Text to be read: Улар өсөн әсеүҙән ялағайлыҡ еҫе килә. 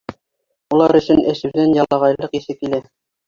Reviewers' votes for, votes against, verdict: 3, 2, accepted